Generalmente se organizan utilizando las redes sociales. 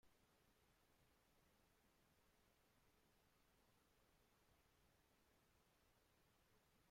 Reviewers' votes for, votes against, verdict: 0, 2, rejected